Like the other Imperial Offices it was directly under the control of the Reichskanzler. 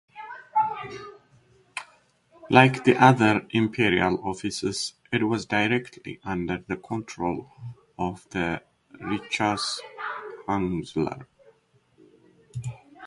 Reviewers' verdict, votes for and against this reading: rejected, 1, 2